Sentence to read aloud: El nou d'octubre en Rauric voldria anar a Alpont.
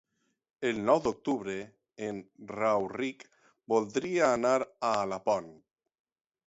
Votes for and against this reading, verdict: 3, 3, rejected